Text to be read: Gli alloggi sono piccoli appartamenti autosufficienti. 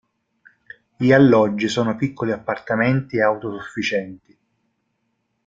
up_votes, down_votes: 1, 2